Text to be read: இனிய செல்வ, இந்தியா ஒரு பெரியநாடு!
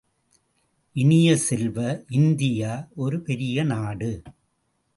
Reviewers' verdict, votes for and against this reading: accepted, 2, 0